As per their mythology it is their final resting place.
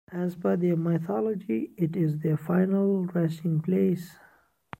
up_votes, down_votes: 2, 0